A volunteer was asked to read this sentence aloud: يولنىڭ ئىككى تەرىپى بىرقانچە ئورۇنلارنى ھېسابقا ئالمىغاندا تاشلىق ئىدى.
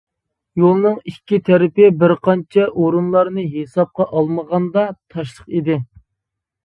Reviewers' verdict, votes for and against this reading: accepted, 2, 0